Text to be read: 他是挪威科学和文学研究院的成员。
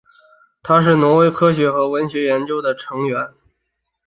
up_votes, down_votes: 4, 2